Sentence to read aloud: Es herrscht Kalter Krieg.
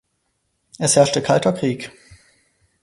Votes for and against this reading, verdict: 0, 4, rejected